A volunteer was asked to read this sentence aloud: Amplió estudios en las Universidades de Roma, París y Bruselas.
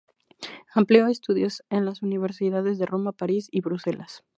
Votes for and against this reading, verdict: 0, 2, rejected